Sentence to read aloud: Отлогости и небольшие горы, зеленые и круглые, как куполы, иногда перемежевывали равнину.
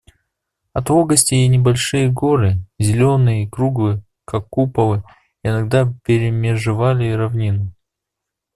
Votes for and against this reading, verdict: 0, 2, rejected